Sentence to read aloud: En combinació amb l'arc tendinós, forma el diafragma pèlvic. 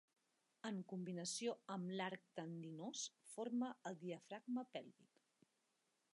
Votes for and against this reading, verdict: 3, 0, accepted